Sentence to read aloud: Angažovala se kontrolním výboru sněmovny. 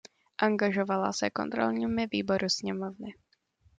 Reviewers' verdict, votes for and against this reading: rejected, 1, 2